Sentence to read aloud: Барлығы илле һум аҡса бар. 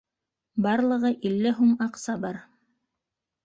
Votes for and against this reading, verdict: 1, 2, rejected